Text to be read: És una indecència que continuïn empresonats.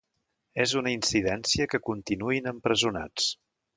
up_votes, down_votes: 1, 2